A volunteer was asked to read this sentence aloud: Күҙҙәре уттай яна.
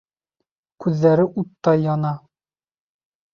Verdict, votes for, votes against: accepted, 2, 0